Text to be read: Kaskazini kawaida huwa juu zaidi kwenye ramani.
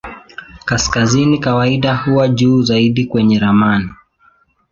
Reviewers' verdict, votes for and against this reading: accepted, 2, 0